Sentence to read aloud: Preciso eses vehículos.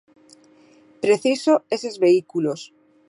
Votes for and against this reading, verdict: 2, 1, accepted